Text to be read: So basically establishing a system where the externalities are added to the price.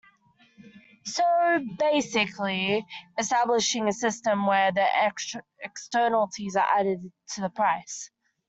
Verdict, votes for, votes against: rejected, 0, 2